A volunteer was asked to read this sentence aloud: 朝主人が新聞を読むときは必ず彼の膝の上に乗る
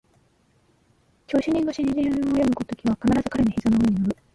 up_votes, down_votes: 1, 2